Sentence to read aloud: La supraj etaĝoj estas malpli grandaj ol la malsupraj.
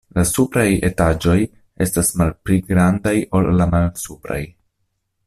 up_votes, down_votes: 2, 0